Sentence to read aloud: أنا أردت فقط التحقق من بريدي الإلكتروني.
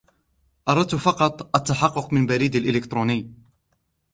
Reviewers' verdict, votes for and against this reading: rejected, 1, 2